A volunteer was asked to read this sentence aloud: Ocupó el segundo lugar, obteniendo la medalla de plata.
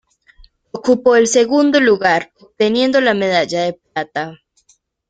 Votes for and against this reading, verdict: 1, 2, rejected